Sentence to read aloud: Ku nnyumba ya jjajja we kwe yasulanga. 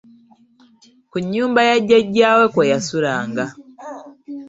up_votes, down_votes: 2, 1